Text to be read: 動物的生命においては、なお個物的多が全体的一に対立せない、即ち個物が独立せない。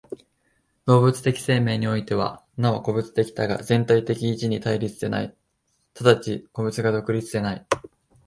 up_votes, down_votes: 2, 0